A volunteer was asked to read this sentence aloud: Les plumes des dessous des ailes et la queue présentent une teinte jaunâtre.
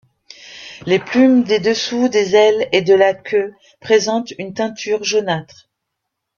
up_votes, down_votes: 0, 2